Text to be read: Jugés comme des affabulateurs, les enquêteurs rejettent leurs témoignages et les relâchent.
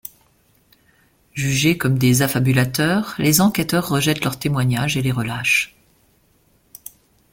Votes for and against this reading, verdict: 2, 0, accepted